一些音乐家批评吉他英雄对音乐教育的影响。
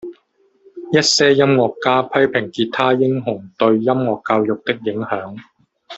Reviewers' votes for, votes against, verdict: 1, 2, rejected